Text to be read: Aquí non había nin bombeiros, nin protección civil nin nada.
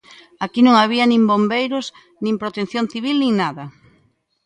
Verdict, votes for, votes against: accepted, 2, 0